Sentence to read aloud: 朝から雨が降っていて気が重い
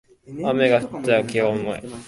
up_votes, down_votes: 0, 2